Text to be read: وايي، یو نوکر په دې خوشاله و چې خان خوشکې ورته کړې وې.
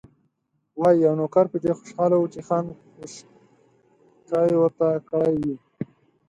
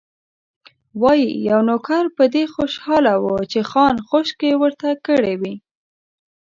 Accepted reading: second